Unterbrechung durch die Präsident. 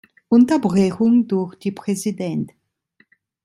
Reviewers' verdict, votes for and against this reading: accepted, 2, 1